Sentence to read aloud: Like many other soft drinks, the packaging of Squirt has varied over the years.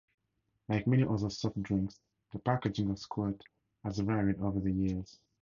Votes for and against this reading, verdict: 2, 0, accepted